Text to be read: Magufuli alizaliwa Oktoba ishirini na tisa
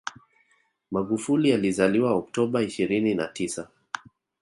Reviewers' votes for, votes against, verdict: 1, 2, rejected